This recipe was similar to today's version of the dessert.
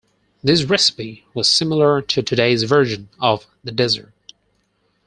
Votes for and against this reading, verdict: 0, 4, rejected